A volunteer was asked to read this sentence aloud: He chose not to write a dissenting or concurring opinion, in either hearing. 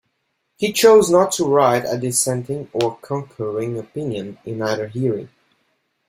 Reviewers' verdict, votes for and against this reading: accepted, 2, 0